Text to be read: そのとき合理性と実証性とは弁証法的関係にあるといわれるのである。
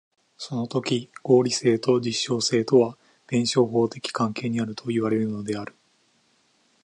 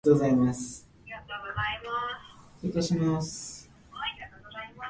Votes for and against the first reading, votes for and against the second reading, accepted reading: 2, 1, 1, 2, first